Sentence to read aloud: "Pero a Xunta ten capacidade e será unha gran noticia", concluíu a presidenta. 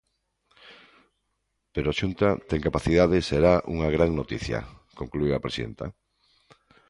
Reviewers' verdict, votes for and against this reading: accepted, 2, 1